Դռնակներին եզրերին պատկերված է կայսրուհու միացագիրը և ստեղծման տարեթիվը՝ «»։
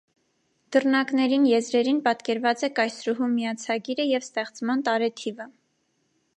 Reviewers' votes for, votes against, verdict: 2, 0, accepted